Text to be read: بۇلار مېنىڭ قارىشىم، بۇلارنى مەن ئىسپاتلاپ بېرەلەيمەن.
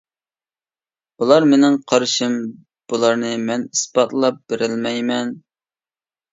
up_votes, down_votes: 1, 2